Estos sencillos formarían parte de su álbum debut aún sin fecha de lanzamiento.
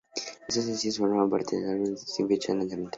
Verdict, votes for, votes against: rejected, 0, 2